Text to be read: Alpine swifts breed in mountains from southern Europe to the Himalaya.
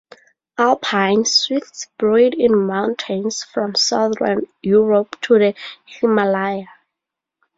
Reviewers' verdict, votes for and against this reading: accepted, 4, 0